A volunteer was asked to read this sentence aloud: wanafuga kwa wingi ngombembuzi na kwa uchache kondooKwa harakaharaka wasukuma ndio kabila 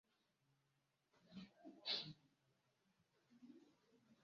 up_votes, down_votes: 0, 2